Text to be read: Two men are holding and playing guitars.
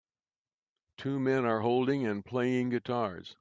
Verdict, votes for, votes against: accepted, 2, 0